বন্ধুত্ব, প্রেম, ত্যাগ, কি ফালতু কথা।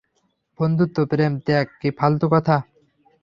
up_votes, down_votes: 0, 3